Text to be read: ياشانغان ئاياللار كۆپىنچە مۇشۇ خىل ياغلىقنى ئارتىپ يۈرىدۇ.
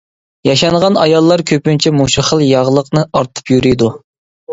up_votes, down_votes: 2, 0